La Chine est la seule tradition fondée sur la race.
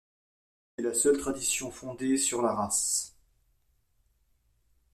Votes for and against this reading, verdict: 1, 2, rejected